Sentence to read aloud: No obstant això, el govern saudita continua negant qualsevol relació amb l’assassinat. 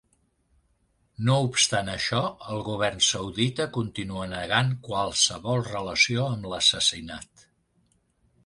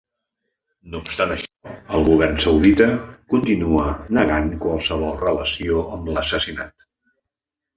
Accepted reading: first